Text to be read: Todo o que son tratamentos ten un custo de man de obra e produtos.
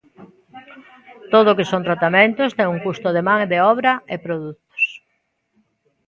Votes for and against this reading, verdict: 1, 2, rejected